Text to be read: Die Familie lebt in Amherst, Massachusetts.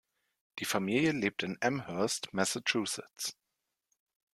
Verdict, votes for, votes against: accepted, 2, 0